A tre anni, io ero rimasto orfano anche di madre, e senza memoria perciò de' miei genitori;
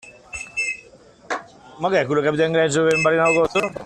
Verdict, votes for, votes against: rejected, 0, 2